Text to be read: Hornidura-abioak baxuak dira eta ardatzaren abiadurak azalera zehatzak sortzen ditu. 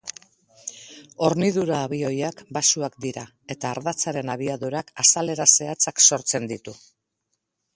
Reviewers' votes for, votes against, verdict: 2, 2, rejected